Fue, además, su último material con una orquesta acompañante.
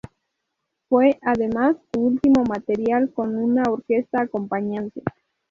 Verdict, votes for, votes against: rejected, 0, 2